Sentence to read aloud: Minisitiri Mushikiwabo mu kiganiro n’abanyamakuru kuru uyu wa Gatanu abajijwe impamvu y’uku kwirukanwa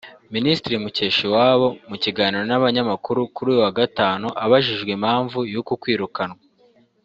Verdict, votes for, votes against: rejected, 1, 2